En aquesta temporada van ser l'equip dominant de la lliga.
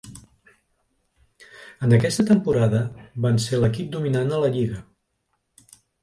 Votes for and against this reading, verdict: 1, 2, rejected